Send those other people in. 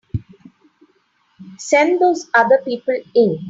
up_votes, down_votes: 3, 0